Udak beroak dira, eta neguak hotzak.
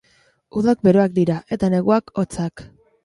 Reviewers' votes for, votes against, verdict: 2, 0, accepted